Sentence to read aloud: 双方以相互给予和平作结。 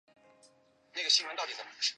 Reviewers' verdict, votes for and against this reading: rejected, 0, 2